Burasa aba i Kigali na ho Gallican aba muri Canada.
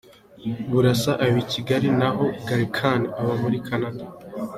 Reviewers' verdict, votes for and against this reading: accepted, 2, 0